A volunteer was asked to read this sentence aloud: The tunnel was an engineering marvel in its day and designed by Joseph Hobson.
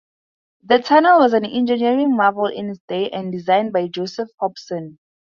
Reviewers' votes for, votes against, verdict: 2, 0, accepted